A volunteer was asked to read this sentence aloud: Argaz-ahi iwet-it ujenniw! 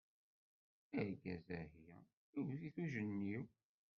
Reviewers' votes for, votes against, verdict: 1, 2, rejected